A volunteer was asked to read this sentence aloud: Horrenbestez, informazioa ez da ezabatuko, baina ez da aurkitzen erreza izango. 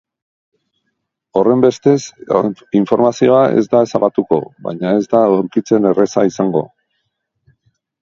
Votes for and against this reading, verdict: 1, 3, rejected